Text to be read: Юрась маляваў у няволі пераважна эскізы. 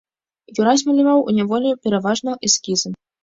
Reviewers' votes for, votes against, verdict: 2, 0, accepted